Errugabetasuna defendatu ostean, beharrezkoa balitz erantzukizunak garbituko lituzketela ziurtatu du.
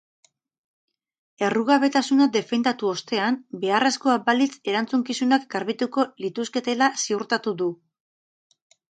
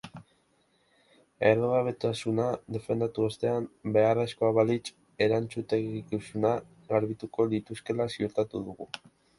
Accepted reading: first